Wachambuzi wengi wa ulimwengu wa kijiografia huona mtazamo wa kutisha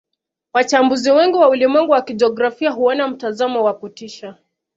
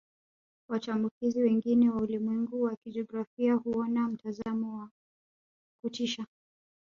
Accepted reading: first